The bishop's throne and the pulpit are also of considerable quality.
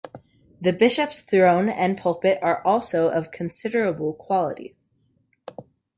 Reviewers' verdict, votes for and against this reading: accepted, 2, 1